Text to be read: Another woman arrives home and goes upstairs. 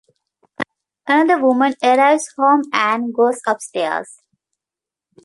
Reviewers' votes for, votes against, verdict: 1, 2, rejected